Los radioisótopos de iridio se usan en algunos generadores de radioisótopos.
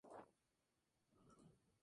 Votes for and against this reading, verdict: 0, 2, rejected